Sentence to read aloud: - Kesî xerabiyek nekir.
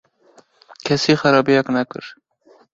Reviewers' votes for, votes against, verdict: 2, 0, accepted